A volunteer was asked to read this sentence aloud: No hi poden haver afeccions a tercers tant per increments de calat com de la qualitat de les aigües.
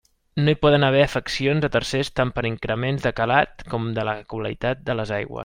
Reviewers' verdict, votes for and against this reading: rejected, 0, 2